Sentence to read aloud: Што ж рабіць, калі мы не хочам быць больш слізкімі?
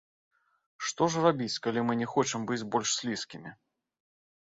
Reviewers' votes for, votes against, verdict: 2, 0, accepted